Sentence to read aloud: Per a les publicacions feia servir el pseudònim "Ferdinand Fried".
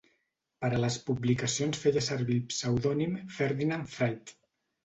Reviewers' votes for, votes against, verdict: 1, 2, rejected